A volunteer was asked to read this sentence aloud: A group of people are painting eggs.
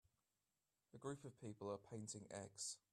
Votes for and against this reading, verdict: 2, 0, accepted